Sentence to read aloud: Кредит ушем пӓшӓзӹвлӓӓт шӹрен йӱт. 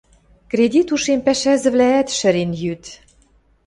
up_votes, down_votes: 2, 0